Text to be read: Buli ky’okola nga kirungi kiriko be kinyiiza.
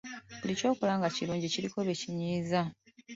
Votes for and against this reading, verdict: 2, 1, accepted